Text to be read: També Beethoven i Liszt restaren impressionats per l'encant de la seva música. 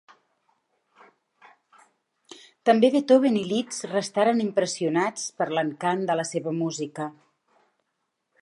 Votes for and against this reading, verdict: 2, 0, accepted